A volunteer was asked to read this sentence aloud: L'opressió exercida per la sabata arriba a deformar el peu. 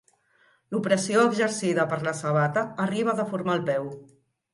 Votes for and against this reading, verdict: 2, 0, accepted